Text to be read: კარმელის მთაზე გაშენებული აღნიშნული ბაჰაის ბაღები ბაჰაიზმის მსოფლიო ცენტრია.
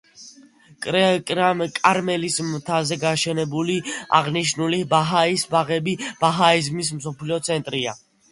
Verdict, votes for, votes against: rejected, 0, 2